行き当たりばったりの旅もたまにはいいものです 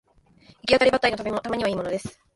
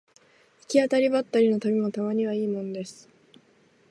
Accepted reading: second